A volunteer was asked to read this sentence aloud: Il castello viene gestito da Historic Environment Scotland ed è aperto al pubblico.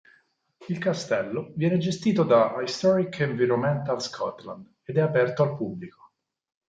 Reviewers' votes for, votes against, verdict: 2, 4, rejected